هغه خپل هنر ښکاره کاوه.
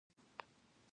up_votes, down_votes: 1, 2